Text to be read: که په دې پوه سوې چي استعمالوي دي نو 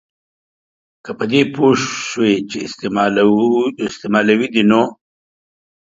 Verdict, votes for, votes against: rejected, 1, 2